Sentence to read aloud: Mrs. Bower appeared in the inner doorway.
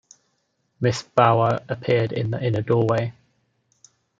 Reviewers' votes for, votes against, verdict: 2, 0, accepted